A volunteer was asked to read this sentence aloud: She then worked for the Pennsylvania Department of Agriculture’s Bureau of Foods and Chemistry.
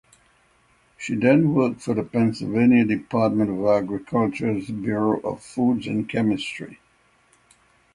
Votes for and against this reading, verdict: 6, 0, accepted